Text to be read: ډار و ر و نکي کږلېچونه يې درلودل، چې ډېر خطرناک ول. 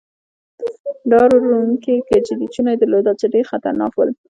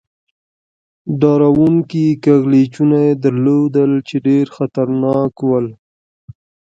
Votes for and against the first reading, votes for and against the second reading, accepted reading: 1, 2, 2, 0, second